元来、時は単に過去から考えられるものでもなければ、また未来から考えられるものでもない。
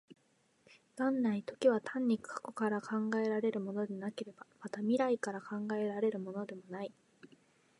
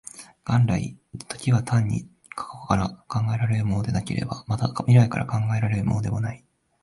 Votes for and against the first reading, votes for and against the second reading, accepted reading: 2, 0, 1, 2, first